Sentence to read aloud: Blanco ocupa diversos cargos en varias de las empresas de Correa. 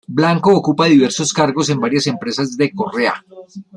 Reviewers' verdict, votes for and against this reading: rejected, 0, 2